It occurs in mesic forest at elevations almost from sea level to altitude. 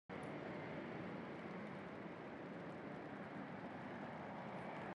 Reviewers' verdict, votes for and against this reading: rejected, 1, 2